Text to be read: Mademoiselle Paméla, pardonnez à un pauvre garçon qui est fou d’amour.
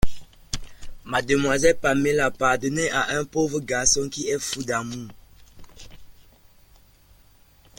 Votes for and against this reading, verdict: 0, 2, rejected